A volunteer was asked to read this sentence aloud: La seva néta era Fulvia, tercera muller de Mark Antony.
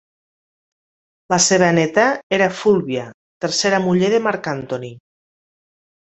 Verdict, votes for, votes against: accepted, 2, 1